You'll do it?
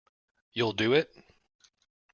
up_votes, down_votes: 2, 0